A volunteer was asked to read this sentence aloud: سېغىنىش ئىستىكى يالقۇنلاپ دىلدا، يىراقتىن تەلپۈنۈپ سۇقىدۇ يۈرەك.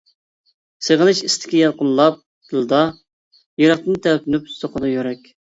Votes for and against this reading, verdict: 0, 2, rejected